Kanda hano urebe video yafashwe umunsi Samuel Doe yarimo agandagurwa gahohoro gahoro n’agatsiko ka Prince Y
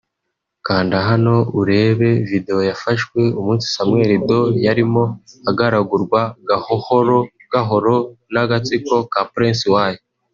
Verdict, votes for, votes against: rejected, 0, 2